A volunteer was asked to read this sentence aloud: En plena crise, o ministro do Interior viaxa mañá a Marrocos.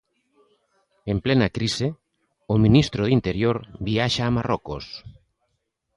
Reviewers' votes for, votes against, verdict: 1, 3, rejected